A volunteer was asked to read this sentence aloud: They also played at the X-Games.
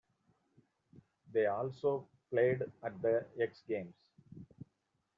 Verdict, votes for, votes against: accepted, 2, 1